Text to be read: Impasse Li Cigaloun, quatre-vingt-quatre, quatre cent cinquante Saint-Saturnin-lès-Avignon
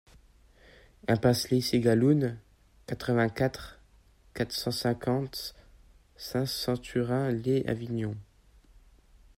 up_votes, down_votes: 1, 2